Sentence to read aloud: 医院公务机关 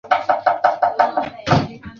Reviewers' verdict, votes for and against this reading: rejected, 0, 2